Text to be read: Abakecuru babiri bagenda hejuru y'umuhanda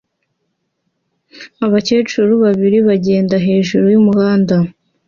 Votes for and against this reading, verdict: 2, 0, accepted